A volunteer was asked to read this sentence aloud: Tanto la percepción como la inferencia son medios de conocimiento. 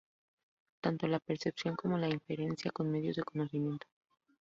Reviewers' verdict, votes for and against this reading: accepted, 2, 0